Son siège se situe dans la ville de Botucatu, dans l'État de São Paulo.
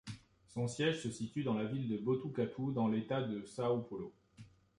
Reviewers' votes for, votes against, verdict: 2, 0, accepted